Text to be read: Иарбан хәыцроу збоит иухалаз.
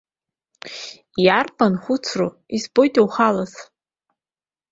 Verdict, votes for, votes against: rejected, 0, 2